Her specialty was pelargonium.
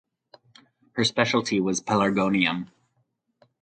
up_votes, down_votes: 2, 0